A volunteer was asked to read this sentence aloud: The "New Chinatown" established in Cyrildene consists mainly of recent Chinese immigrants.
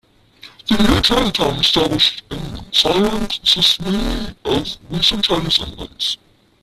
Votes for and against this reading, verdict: 0, 2, rejected